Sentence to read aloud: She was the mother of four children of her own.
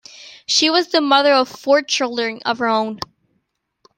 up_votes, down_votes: 2, 0